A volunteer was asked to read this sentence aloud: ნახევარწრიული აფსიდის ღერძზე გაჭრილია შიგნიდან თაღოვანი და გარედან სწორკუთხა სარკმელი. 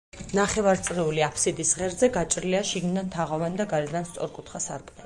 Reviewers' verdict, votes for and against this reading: rejected, 2, 4